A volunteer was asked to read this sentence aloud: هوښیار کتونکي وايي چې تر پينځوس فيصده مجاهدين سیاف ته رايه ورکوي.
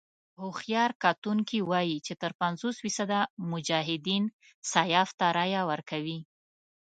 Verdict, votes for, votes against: accepted, 2, 0